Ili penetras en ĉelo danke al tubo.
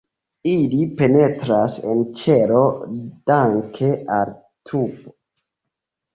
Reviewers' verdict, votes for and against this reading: rejected, 1, 2